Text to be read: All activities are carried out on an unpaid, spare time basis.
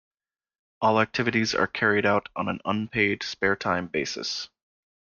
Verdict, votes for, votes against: accepted, 2, 0